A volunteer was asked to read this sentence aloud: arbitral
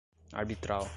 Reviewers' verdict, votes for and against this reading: accepted, 2, 0